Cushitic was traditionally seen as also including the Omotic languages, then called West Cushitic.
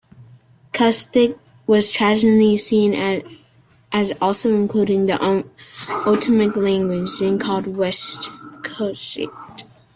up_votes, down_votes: 0, 2